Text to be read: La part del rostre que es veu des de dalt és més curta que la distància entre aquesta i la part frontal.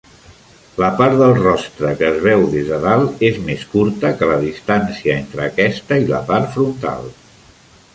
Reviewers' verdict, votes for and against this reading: accepted, 3, 0